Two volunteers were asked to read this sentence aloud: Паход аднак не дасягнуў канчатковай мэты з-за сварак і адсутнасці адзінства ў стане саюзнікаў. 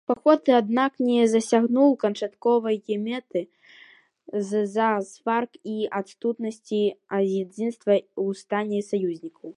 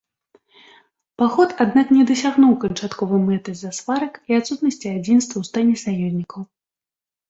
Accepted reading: second